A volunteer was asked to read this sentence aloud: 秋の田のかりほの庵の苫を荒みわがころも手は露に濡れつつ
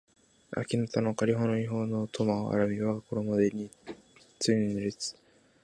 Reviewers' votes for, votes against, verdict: 0, 2, rejected